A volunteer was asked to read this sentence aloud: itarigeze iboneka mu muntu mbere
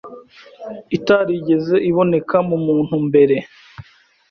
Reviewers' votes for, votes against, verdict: 2, 0, accepted